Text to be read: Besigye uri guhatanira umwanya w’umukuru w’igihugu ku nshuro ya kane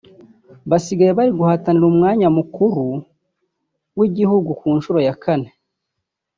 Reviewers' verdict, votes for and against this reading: rejected, 1, 2